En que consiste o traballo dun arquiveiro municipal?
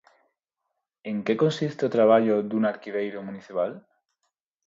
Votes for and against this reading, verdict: 4, 0, accepted